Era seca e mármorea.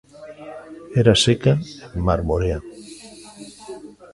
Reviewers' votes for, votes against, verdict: 0, 2, rejected